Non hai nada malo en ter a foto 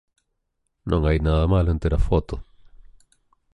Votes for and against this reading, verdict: 2, 0, accepted